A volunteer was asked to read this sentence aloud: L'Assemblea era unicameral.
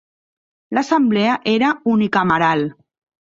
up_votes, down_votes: 3, 0